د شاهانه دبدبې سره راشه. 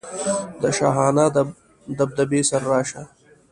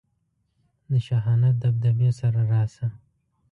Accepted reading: second